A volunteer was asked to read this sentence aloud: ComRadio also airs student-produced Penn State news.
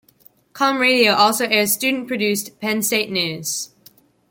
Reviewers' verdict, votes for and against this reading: rejected, 1, 2